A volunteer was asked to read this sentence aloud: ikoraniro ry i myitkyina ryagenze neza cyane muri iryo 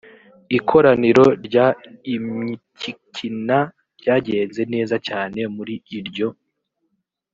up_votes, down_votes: 0, 2